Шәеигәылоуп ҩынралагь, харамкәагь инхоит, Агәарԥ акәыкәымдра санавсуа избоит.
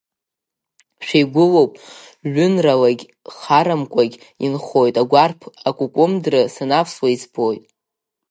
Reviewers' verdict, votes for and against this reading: rejected, 5, 6